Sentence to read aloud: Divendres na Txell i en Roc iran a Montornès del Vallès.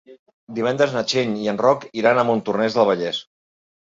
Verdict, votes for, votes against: accepted, 4, 0